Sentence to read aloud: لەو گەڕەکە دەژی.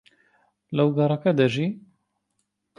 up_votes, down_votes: 0, 2